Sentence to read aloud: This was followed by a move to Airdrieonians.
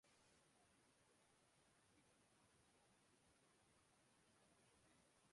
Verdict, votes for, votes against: rejected, 0, 2